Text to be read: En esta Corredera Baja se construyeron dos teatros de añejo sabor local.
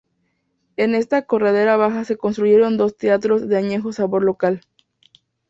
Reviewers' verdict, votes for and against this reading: accepted, 2, 0